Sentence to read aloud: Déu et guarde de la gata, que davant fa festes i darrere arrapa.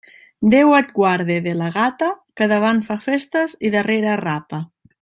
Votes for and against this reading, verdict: 2, 0, accepted